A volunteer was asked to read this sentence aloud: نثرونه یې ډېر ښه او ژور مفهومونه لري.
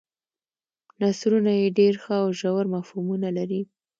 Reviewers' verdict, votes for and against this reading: accepted, 2, 0